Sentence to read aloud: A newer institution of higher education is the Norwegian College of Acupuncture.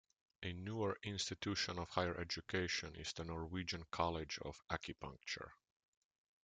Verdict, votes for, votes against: accepted, 2, 0